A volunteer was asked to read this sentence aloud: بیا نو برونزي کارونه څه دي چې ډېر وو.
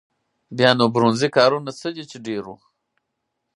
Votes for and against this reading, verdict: 4, 0, accepted